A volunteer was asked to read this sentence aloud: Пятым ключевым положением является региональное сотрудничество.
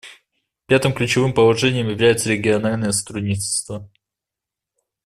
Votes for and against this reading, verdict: 1, 2, rejected